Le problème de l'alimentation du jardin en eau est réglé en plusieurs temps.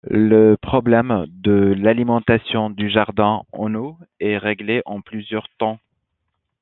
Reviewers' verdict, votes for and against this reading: accepted, 2, 0